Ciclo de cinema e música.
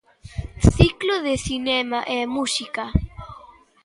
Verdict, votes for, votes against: accepted, 2, 0